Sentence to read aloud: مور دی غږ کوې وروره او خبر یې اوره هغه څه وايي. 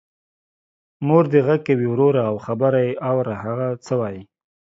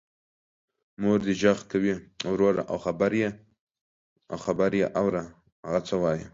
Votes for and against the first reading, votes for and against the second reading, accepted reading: 2, 0, 0, 2, first